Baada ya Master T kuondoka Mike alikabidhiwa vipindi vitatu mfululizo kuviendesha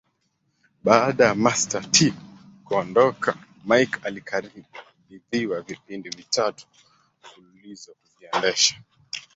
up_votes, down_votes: 2, 3